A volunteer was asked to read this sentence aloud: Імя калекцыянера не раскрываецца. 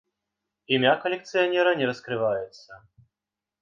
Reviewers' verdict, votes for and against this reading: accepted, 3, 0